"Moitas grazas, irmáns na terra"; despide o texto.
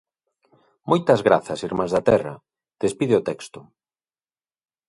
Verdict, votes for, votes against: rejected, 0, 2